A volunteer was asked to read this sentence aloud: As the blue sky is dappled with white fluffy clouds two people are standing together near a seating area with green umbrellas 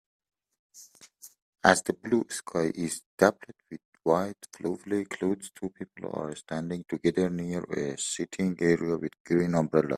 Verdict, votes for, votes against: rejected, 1, 3